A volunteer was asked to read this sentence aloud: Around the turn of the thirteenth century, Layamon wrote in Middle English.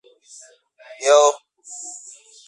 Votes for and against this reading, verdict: 0, 2, rejected